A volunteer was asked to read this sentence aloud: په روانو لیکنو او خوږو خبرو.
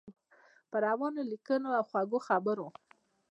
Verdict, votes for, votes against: rejected, 1, 2